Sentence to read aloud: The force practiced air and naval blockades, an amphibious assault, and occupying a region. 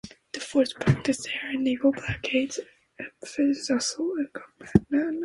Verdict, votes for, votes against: rejected, 0, 2